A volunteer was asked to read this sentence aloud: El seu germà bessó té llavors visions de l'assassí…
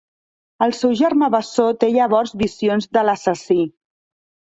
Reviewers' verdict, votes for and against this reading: accepted, 2, 0